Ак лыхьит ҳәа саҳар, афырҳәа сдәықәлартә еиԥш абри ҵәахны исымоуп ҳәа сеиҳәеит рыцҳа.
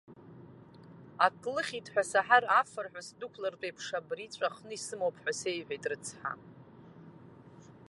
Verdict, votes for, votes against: accepted, 2, 0